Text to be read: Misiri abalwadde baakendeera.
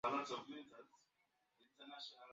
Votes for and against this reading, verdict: 0, 2, rejected